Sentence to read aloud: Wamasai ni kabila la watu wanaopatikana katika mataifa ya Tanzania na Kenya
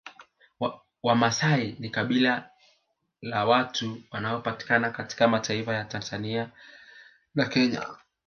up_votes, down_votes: 2, 0